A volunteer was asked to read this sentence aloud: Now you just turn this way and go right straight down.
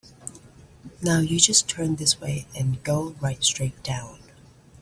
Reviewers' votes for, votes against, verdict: 3, 0, accepted